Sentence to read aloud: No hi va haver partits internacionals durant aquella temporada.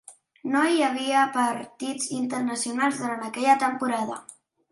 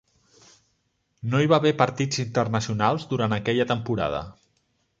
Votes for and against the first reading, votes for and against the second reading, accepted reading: 0, 2, 3, 0, second